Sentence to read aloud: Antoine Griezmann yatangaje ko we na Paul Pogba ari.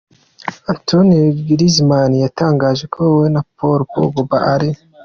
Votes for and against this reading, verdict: 2, 1, accepted